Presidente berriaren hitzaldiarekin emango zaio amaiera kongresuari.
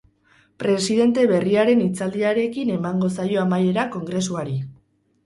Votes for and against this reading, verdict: 4, 0, accepted